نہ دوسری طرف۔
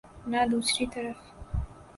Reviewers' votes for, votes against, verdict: 4, 0, accepted